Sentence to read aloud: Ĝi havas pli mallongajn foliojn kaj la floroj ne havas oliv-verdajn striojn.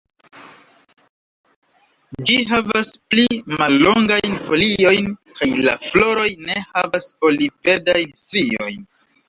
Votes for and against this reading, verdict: 1, 2, rejected